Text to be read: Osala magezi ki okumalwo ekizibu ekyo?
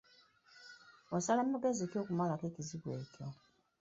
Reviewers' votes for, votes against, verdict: 0, 2, rejected